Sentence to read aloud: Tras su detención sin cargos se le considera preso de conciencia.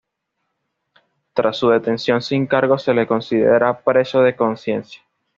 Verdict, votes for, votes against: accepted, 2, 0